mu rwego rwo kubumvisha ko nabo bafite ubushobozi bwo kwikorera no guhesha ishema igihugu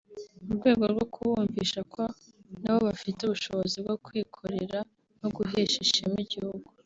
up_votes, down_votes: 3, 0